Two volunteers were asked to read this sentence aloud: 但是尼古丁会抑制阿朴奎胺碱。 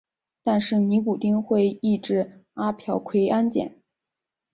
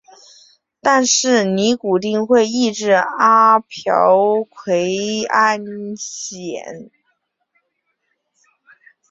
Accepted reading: first